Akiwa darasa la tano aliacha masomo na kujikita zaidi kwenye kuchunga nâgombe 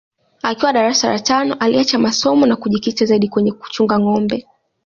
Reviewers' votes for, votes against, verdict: 2, 1, accepted